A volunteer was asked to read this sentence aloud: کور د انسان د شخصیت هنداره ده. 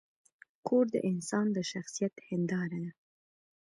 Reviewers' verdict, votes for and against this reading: rejected, 1, 2